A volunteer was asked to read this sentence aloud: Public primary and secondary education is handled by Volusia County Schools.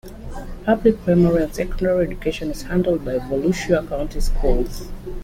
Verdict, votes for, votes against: rejected, 0, 2